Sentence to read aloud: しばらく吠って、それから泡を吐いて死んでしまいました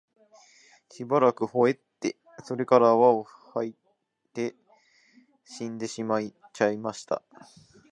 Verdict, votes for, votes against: rejected, 1, 2